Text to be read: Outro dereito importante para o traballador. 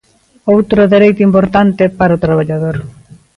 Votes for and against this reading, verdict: 2, 0, accepted